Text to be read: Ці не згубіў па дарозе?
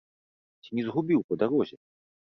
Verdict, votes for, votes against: accepted, 2, 0